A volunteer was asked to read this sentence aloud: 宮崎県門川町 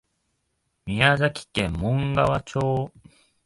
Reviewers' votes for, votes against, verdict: 2, 0, accepted